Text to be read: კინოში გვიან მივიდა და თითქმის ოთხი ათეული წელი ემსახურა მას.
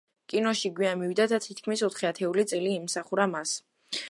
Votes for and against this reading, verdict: 0, 2, rejected